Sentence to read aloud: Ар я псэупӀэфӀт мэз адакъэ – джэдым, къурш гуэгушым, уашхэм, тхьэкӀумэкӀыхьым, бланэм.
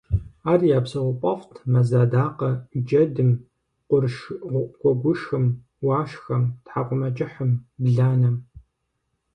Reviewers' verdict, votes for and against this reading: rejected, 2, 4